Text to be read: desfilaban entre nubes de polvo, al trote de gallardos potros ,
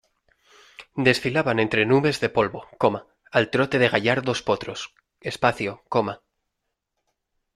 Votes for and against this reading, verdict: 1, 2, rejected